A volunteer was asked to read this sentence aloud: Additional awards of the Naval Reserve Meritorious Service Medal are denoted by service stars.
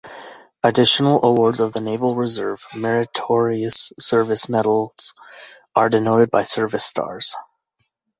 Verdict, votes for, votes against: accepted, 2, 0